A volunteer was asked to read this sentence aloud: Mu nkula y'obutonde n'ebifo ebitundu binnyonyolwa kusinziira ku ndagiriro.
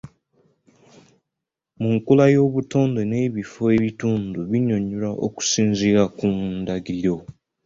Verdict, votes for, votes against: accepted, 2, 1